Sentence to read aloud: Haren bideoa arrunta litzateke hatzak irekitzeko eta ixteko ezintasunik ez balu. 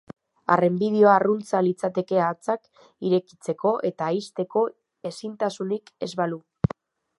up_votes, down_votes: 1, 2